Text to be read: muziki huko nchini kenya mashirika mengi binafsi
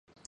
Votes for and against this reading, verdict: 2, 8, rejected